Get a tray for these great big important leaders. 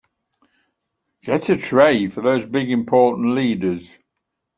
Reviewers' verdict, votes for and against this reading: rejected, 1, 2